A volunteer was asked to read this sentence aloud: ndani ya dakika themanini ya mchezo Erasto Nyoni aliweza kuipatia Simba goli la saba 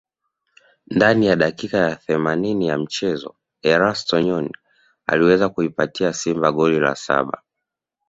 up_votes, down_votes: 2, 0